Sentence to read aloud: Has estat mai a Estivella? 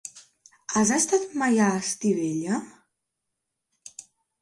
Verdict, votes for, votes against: accepted, 3, 0